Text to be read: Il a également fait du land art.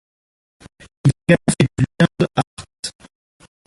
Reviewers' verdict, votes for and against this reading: rejected, 0, 2